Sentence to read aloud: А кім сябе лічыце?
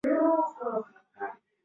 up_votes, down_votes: 0, 2